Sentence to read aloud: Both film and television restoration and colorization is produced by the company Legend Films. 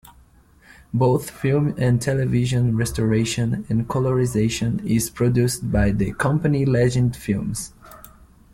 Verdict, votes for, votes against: accepted, 2, 0